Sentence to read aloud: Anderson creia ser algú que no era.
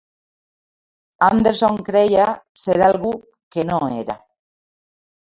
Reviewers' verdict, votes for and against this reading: accepted, 2, 0